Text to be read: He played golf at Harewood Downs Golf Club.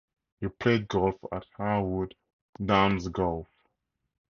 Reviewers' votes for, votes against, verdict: 0, 2, rejected